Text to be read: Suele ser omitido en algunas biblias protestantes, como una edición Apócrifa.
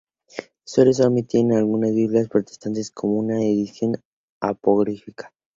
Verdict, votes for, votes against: rejected, 0, 2